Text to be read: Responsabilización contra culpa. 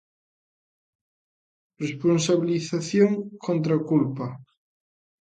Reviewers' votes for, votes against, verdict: 2, 0, accepted